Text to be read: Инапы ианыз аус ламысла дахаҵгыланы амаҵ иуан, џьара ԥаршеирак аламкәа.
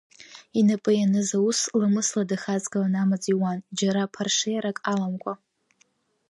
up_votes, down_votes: 1, 2